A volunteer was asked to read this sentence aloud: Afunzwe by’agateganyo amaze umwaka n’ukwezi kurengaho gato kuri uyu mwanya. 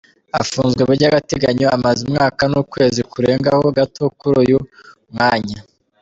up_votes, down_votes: 2, 0